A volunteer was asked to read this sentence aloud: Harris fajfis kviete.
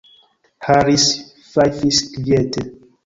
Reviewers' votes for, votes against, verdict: 1, 2, rejected